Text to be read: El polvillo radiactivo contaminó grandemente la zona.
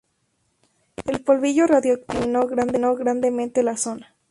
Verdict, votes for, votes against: rejected, 0, 2